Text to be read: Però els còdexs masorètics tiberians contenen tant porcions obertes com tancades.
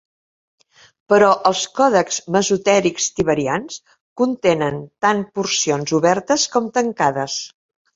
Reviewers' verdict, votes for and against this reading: accepted, 2, 0